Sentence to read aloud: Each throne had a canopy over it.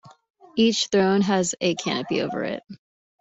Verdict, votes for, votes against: rejected, 1, 3